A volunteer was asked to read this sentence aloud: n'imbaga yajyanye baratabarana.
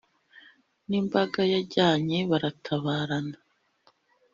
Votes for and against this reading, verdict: 2, 0, accepted